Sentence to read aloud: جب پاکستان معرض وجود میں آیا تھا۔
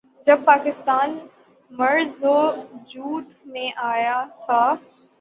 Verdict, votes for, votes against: accepted, 3, 0